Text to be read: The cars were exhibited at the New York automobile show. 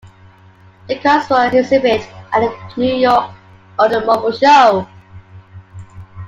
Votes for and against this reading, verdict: 1, 2, rejected